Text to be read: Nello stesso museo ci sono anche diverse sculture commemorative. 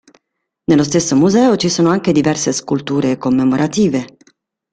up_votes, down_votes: 2, 0